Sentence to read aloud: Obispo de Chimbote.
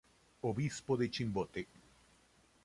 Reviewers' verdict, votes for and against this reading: accepted, 2, 0